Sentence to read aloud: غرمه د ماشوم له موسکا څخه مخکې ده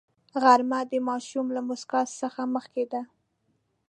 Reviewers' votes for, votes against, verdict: 2, 0, accepted